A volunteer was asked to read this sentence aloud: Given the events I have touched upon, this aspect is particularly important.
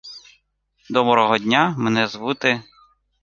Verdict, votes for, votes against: rejected, 1, 2